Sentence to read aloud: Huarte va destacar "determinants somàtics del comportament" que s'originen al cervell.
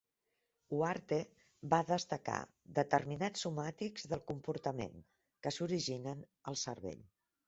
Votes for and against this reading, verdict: 0, 2, rejected